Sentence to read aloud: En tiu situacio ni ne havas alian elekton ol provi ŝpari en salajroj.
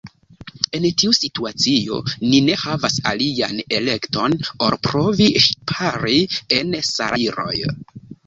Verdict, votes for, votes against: rejected, 1, 2